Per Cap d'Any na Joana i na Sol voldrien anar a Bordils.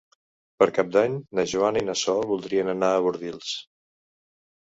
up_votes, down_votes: 3, 0